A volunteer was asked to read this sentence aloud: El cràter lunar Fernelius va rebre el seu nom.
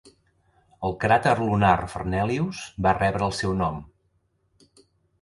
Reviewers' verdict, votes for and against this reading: accepted, 2, 0